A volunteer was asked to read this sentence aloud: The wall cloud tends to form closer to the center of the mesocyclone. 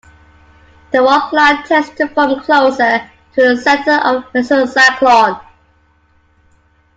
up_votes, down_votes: 2, 1